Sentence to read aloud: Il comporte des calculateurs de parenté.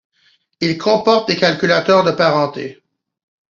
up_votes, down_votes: 2, 0